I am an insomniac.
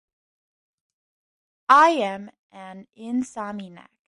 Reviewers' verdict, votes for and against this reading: rejected, 0, 2